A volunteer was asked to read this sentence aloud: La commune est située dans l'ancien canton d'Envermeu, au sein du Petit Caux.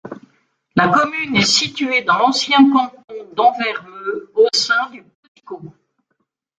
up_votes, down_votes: 1, 2